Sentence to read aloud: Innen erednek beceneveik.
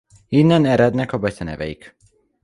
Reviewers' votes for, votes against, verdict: 1, 2, rejected